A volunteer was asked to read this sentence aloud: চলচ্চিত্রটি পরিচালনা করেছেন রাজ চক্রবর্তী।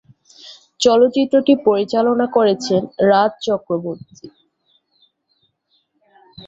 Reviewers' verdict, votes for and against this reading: accepted, 18, 0